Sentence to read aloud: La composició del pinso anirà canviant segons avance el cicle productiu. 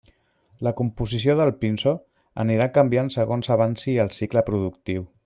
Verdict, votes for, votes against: rejected, 0, 2